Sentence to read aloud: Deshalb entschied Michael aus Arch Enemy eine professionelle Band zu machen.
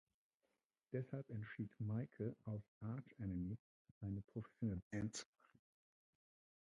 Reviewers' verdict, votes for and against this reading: rejected, 0, 2